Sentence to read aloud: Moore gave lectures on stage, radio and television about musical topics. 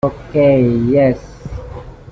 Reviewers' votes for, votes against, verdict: 0, 2, rejected